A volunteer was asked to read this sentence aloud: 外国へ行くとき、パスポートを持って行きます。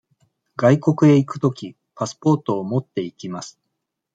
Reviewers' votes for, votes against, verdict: 1, 2, rejected